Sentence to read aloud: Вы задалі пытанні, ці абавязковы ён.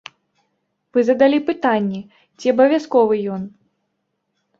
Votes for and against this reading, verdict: 2, 0, accepted